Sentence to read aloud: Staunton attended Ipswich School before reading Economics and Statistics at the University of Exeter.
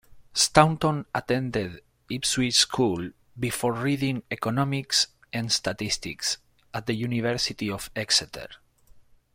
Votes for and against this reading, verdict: 1, 2, rejected